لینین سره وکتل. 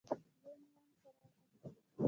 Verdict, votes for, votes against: rejected, 1, 2